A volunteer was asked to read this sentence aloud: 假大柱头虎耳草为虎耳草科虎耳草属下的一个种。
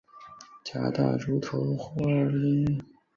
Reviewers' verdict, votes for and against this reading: rejected, 0, 5